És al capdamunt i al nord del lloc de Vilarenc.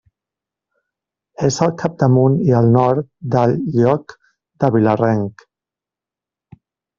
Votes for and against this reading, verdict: 1, 2, rejected